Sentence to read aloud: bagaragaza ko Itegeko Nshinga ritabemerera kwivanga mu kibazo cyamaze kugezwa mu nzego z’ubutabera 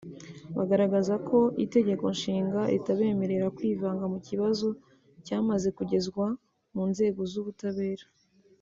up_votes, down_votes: 2, 0